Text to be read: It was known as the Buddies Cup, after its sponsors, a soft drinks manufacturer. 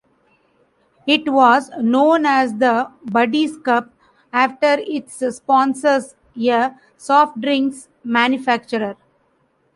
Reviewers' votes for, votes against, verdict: 0, 2, rejected